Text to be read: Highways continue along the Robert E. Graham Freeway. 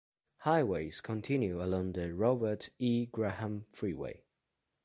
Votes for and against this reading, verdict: 2, 0, accepted